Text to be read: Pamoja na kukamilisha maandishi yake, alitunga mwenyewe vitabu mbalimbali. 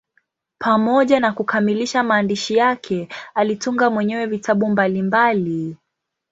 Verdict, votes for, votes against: accepted, 4, 0